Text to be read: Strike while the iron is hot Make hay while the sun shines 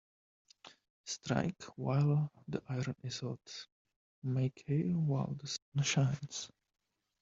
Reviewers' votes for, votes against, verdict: 1, 2, rejected